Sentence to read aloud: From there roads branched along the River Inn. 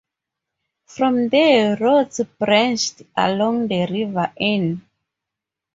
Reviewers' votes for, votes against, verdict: 2, 0, accepted